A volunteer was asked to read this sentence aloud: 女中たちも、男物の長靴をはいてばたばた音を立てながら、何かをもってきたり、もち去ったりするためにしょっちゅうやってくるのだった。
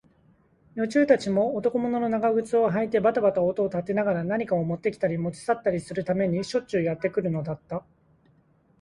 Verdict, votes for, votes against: accepted, 2, 0